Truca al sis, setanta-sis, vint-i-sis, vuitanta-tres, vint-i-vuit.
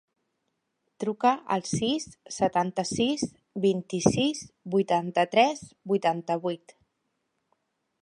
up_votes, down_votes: 0, 3